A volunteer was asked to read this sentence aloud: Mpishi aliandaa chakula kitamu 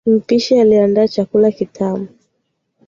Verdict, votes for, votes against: accepted, 2, 0